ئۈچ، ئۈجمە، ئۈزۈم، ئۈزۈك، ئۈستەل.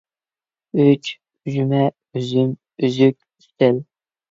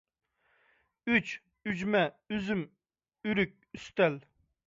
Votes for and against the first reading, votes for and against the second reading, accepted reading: 2, 0, 0, 2, first